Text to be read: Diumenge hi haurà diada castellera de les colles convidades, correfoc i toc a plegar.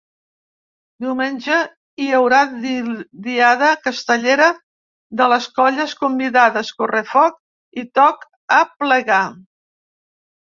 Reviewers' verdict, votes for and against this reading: rejected, 0, 2